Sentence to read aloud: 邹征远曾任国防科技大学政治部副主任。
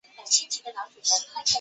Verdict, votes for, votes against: rejected, 0, 2